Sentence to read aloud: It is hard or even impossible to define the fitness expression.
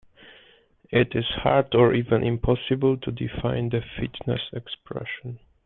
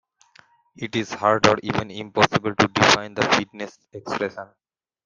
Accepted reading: first